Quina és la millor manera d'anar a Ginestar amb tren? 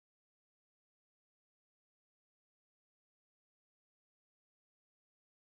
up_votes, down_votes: 1, 2